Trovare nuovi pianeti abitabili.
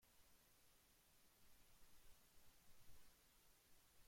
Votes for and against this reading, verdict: 0, 2, rejected